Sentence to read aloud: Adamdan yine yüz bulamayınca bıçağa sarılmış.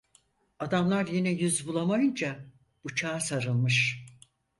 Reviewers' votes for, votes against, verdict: 0, 4, rejected